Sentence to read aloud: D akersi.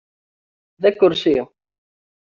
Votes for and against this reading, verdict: 2, 0, accepted